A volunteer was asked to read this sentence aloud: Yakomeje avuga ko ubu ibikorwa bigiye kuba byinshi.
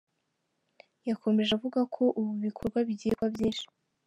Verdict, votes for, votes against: rejected, 1, 2